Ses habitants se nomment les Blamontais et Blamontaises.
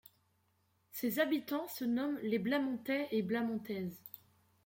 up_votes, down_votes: 2, 0